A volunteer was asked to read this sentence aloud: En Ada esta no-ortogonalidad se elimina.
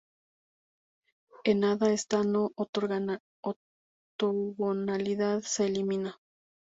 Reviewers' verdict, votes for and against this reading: rejected, 0, 2